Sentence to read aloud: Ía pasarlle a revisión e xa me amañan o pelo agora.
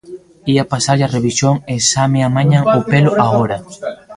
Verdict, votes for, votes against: accepted, 2, 0